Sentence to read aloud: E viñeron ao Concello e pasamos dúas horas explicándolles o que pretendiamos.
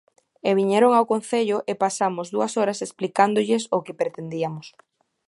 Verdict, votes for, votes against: rejected, 1, 2